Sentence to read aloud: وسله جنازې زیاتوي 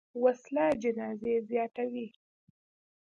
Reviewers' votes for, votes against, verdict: 2, 0, accepted